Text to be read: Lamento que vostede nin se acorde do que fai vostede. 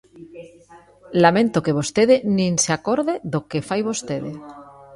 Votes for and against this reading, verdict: 2, 0, accepted